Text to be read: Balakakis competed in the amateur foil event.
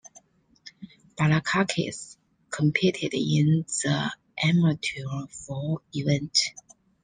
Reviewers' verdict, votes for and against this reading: accepted, 2, 0